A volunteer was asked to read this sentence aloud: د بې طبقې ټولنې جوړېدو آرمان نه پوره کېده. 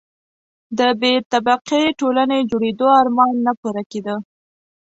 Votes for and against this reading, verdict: 2, 0, accepted